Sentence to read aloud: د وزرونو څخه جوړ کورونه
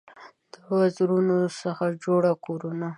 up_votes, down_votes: 1, 2